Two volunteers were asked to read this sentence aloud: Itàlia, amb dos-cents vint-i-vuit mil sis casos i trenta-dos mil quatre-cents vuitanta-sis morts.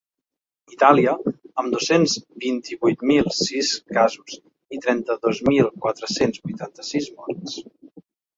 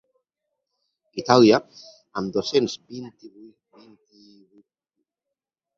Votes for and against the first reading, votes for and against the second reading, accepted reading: 2, 1, 0, 2, first